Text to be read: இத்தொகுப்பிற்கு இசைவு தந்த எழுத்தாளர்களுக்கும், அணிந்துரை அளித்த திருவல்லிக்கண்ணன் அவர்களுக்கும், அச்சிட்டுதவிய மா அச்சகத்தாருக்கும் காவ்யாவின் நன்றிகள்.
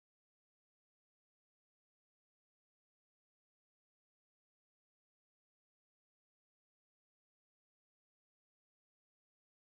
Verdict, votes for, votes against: rejected, 0, 2